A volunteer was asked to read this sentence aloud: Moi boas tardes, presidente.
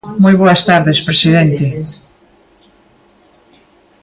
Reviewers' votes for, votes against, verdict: 0, 2, rejected